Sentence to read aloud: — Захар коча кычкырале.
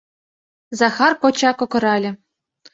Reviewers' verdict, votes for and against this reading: rejected, 1, 2